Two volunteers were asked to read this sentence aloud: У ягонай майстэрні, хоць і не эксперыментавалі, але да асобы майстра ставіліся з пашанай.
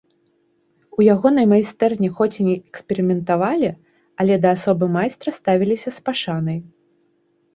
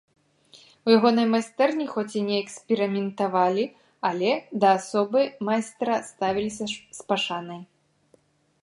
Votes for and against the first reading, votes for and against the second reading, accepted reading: 2, 0, 1, 2, first